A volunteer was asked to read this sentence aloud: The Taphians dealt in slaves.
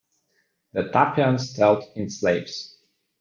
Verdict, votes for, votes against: accepted, 2, 0